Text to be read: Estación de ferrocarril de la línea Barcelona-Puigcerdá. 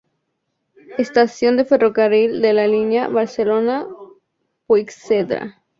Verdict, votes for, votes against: accepted, 2, 0